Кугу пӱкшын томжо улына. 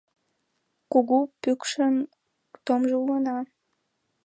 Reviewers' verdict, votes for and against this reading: accepted, 2, 0